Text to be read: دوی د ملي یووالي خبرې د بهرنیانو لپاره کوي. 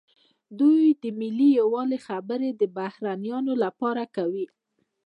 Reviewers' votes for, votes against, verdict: 1, 2, rejected